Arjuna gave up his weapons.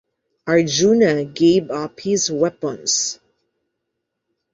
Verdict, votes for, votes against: accepted, 2, 0